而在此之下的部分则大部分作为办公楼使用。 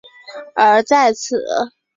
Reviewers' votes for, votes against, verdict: 0, 2, rejected